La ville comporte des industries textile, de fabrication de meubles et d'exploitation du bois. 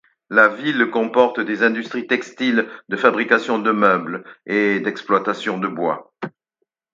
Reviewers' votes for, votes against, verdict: 0, 4, rejected